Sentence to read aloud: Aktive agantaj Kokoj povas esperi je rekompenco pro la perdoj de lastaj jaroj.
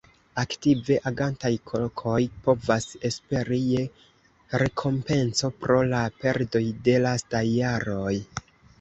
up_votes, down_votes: 1, 2